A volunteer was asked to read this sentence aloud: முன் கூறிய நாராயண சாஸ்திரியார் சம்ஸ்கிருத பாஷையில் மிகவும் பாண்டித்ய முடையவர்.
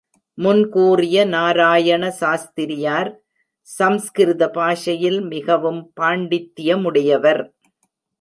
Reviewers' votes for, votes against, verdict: 1, 2, rejected